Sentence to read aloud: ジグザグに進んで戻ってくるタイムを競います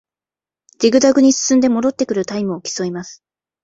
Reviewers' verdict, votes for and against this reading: accepted, 2, 0